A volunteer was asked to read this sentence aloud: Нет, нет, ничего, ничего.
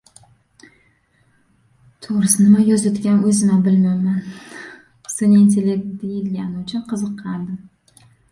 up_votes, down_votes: 0, 2